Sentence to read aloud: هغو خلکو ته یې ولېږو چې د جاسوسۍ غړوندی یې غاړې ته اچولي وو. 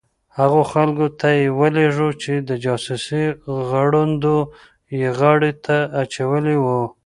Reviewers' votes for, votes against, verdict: 0, 2, rejected